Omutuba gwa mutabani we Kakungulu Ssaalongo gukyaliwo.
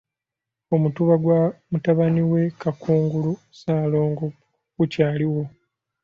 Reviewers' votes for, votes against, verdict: 2, 0, accepted